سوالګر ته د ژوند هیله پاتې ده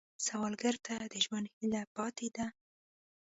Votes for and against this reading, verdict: 2, 0, accepted